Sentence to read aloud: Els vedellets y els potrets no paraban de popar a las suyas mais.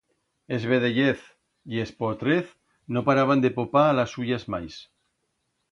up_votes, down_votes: 1, 2